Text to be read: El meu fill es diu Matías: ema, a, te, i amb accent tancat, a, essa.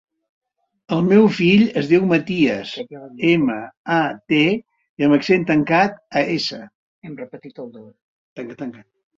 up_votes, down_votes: 0, 2